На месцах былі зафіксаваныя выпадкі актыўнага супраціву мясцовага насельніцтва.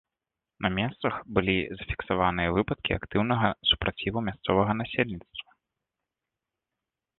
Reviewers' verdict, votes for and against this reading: accepted, 2, 0